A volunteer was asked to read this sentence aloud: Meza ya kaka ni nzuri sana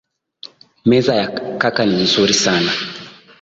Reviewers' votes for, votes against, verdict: 2, 1, accepted